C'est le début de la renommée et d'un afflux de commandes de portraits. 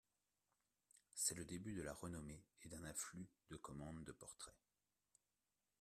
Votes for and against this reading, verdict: 1, 2, rejected